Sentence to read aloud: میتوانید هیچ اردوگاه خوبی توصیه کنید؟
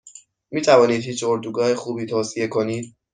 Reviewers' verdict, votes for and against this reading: accepted, 2, 0